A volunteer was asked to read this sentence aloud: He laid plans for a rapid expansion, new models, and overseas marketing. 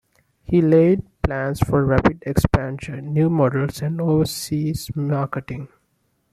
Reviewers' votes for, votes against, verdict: 1, 2, rejected